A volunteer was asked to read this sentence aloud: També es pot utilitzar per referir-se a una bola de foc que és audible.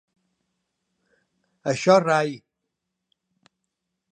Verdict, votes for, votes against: rejected, 0, 3